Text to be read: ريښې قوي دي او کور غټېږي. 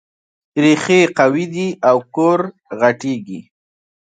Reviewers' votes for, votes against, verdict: 2, 0, accepted